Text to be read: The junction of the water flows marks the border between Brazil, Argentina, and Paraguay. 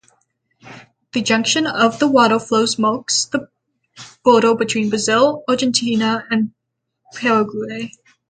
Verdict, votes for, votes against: rejected, 3, 3